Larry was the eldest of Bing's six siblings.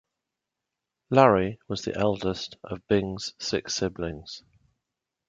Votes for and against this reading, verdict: 2, 0, accepted